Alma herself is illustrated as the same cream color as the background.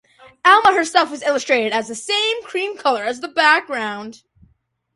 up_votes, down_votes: 2, 0